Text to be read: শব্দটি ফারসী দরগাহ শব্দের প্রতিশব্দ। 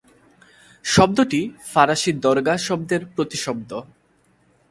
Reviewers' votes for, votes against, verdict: 1, 2, rejected